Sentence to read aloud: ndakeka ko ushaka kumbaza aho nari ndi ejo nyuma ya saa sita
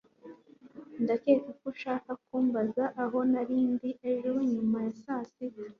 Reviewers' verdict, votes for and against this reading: accepted, 2, 0